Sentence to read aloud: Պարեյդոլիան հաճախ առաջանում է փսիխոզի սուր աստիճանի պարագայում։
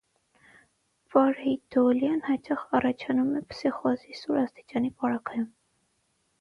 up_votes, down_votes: 3, 3